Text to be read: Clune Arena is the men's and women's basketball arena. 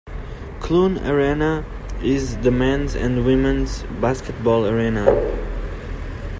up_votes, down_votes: 2, 0